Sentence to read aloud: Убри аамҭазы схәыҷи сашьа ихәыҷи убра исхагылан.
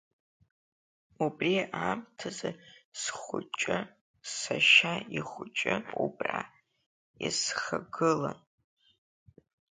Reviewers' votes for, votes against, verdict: 2, 0, accepted